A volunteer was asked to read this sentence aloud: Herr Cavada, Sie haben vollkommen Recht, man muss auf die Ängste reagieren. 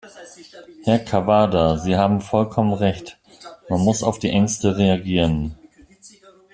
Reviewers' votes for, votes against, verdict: 1, 2, rejected